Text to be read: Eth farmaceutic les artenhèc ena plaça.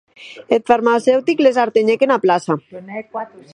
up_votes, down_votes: 4, 0